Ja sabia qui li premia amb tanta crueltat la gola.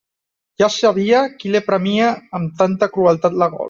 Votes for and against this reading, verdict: 1, 2, rejected